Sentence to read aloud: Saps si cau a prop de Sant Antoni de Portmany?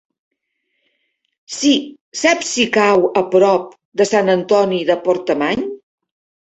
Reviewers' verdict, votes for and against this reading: rejected, 0, 2